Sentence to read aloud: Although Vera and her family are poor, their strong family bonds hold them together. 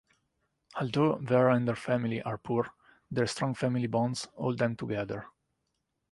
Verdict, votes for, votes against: accepted, 2, 0